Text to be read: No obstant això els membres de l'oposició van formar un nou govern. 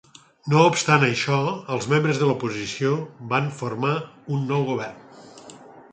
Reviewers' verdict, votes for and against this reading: accepted, 4, 0